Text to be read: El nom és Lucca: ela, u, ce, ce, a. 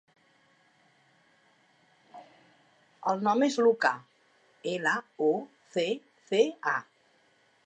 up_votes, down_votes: 2, 3